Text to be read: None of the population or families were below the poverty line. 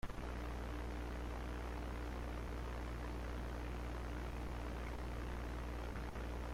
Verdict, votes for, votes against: rejected, 0, 2